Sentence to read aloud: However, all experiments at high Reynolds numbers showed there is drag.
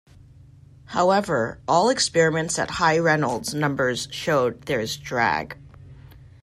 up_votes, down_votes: 2, 0